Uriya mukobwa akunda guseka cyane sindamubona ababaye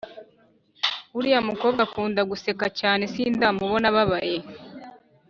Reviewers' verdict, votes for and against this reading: accepted, 2, 0